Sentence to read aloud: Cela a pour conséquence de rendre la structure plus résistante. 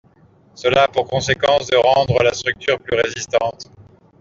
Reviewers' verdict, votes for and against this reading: accepted, 2, 0